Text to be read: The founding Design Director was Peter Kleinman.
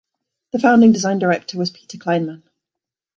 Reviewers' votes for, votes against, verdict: 2, 0, accepted